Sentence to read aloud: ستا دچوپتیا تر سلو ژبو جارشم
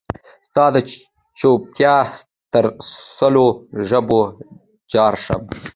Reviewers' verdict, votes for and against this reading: accepted, 2, 1